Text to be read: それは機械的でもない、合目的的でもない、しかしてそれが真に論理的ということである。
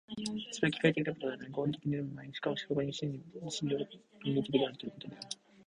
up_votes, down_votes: 0, 2